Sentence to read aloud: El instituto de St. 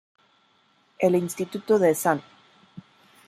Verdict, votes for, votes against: rejected, 1, 2